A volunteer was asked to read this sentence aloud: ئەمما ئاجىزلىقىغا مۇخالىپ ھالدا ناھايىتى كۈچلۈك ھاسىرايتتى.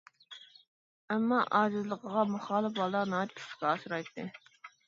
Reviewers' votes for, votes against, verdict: 1, 2, rejected